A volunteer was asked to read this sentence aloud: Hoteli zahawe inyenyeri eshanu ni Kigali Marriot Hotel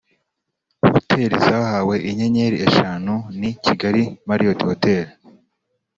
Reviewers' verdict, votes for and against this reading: accepted, 2, 0